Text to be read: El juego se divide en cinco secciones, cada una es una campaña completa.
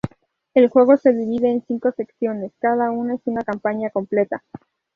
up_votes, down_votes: 2, 0